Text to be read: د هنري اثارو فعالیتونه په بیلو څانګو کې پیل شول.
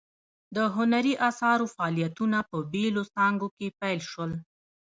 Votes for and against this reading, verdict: 2, 1, accepted